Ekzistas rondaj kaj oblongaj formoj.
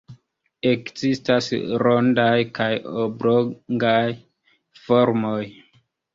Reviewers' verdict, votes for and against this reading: rejected, 0, 2